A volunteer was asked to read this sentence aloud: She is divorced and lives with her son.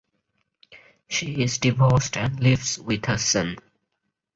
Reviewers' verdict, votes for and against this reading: rejected, 2, 4